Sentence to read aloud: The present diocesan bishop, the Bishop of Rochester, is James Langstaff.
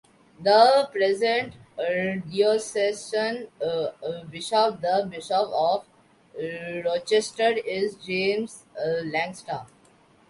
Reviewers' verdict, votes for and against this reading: rejected, 0, 2